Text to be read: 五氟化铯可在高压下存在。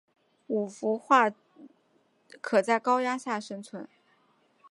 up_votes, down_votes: 0, 2